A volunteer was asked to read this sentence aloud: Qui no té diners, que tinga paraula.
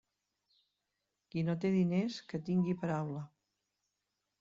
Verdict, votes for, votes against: rejected, 0, 2